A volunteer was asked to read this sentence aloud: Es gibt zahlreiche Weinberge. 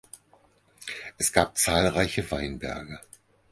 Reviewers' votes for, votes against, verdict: 0, 6, rejected